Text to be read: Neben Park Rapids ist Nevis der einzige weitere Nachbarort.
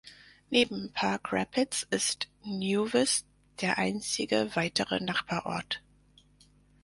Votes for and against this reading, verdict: 0, 4, rejected